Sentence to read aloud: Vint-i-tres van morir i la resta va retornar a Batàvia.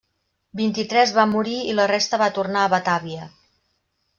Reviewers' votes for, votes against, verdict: 0, 2, rejected